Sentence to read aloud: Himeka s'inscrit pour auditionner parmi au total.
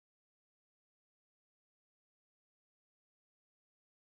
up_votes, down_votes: 0, 2